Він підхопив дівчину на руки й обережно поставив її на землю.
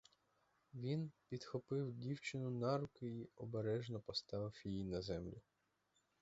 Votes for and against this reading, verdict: 0, 4, rejected